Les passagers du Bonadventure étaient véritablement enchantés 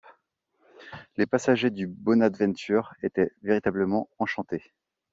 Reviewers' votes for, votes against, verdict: 2, 0, accepted